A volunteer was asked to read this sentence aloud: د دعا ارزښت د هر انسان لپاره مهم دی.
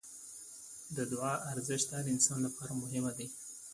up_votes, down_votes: 2, 0